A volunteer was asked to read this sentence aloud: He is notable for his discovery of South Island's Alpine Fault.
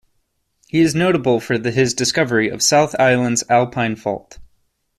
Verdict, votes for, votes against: rejected, 1, 2